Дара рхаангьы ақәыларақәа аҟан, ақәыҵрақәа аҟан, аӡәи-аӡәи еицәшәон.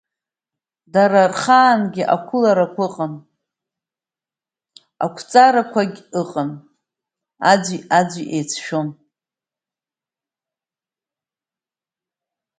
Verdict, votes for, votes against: rejected, 1, 2